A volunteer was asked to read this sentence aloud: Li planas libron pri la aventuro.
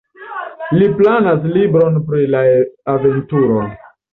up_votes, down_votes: 2, 0